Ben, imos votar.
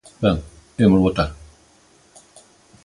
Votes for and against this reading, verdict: 3, 0, accepted